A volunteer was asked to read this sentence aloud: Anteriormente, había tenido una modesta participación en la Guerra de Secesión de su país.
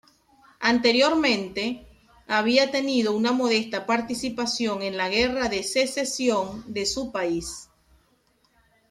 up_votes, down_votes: 2, 0